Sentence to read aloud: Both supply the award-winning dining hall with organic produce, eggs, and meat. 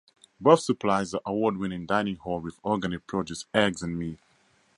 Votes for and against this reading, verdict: 2, 0, accepted